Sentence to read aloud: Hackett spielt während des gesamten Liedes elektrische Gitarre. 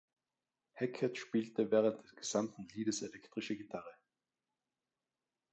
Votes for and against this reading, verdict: 0, 2, rejected